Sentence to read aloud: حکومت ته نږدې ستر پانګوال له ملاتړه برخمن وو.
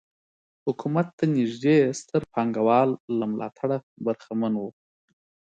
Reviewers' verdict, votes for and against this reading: accepted, 4, 0